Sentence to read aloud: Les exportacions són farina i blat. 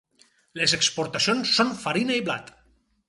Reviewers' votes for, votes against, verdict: 4, 0, accepted